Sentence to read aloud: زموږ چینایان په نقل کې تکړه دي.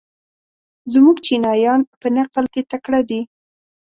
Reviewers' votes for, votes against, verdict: 2, 0, accepted